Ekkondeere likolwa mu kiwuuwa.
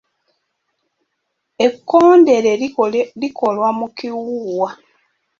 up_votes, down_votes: 1, 2